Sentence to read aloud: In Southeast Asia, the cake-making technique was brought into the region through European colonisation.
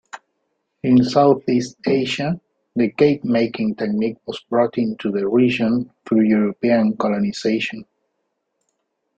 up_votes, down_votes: 2, 0